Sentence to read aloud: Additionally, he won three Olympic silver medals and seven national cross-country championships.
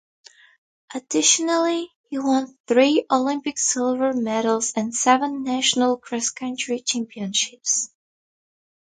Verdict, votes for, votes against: rejected, 0, 2